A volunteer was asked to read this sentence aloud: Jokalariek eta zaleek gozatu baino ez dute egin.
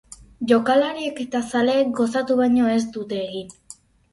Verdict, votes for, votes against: rejected, 2, 2